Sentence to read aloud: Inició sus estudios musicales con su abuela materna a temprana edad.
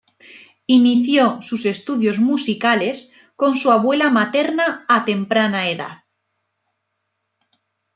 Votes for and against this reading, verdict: 2, 0, accepted